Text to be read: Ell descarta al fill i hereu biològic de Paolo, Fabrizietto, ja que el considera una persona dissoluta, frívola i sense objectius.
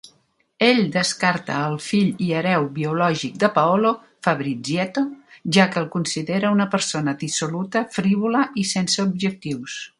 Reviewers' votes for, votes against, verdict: 2, 0, accepted